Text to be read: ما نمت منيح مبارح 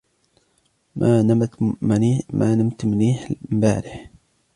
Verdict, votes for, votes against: accepted, 2, 0